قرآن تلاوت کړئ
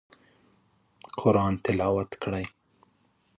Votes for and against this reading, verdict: 2, 0, accepted